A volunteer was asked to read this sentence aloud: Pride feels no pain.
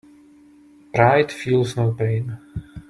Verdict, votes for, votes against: accepted, 2, 0